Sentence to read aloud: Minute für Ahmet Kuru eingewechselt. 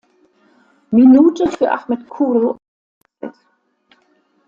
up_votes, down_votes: 0, 2